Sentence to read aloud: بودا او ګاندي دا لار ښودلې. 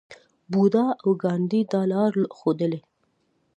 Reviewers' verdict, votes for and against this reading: rejected, 1, 2